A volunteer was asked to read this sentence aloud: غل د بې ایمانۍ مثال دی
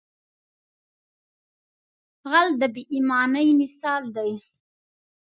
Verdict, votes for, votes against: accepted, 2, 0